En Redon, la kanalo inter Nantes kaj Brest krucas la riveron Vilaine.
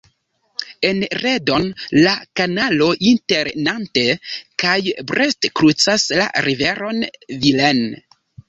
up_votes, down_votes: 0, 2